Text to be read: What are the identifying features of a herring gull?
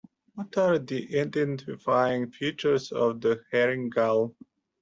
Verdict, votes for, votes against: rejected, 0, 2